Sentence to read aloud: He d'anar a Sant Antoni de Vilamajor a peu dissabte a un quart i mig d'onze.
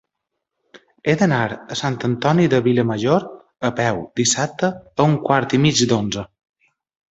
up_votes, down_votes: 3, 0